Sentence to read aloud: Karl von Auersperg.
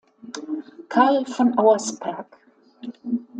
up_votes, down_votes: 2, 1